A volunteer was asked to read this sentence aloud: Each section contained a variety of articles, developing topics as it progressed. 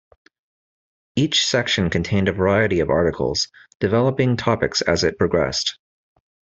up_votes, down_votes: 2, 0